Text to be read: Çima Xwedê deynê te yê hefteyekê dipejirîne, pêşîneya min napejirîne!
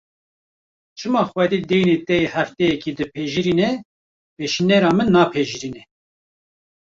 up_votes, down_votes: 1, 2